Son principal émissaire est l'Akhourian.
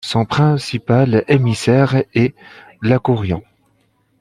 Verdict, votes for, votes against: accepted, 2, 0